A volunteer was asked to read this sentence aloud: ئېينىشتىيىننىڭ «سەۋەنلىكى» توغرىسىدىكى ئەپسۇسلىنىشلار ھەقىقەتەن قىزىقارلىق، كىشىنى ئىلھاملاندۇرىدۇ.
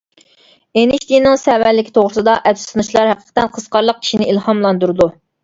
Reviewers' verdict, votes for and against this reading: rejected, 1, 2